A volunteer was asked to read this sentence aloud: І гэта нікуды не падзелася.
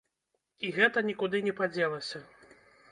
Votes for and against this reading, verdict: 2, 0, accepted